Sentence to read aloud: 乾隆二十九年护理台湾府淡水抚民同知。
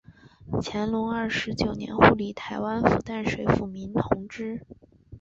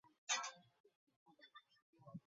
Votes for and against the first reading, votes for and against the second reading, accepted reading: 6, 0, 0, 6, first